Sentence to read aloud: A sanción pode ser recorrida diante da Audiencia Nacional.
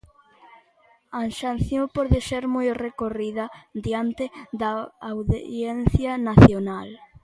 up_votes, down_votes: 0, 2